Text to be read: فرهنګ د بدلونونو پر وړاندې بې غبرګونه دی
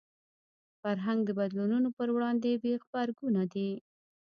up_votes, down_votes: 1, 2